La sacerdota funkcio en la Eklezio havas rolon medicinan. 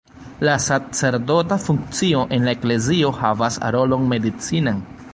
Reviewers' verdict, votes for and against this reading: rejected, 0, 2